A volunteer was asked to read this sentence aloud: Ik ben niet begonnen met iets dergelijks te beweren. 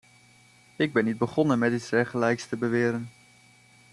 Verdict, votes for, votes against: accepted, 2, 0